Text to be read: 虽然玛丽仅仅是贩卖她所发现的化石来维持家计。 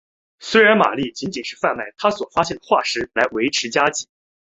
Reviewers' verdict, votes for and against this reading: accepted, 2, 0